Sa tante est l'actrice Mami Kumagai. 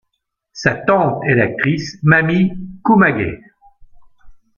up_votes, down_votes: 1, 2